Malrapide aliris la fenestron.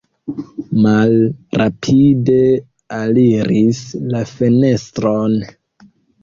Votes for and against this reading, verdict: 2, 0, accepted